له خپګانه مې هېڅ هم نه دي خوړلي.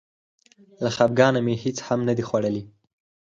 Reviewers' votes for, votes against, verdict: 4, 0, accepted